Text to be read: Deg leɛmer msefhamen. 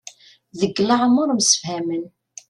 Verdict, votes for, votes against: accepted, 2, 0